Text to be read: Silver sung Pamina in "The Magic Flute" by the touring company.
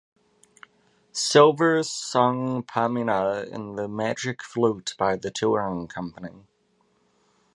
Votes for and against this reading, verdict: 2, 0, accepted